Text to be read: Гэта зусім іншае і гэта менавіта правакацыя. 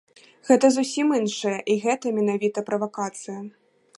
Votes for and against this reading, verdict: 2, 0, accepted